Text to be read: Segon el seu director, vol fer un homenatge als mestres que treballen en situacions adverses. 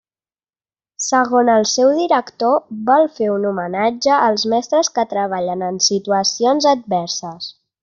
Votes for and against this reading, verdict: 1, 2, rejected